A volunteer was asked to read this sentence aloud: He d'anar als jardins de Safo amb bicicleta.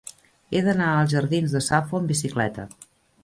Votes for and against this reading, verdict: 1, 2, rejected